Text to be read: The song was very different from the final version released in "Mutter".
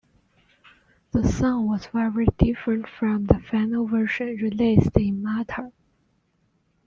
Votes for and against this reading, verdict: 1, 2, rejected